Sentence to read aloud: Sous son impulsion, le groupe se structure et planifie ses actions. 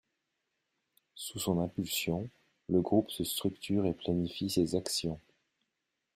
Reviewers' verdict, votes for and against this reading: accepted, 2, 1